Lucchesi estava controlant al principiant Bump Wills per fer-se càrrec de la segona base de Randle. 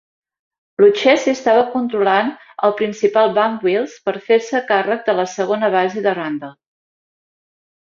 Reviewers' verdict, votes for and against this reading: accepted, 2, 0